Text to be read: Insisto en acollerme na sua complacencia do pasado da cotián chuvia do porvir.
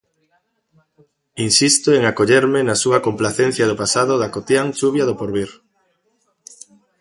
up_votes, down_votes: 2, 0